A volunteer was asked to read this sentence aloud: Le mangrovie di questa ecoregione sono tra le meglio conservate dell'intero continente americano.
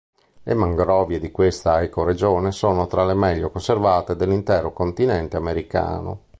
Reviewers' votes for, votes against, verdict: 2, 0, accepted